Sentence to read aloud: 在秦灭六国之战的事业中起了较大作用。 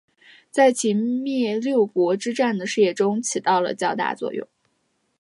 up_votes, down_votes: 3, 0